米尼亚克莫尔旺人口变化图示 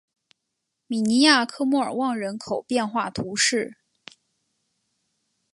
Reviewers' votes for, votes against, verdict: 3, 0, accepted